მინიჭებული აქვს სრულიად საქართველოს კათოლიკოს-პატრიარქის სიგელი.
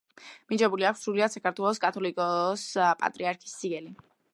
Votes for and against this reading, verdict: 0, 2, rejected